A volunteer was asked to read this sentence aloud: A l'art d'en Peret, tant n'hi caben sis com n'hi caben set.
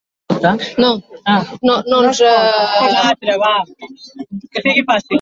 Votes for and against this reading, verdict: 0, 2, rejected